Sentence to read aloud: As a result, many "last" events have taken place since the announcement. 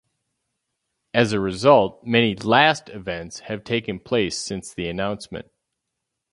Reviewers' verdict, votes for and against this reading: rejected, 0, 2